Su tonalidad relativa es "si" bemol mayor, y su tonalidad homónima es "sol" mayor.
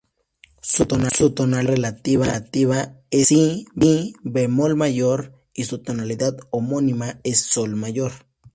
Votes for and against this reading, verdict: 0, 2, rejected